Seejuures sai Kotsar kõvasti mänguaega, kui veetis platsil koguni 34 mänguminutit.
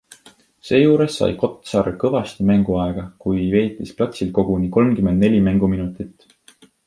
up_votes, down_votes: 0, 2